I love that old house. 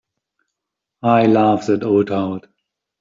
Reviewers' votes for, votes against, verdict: 1, 2, rejected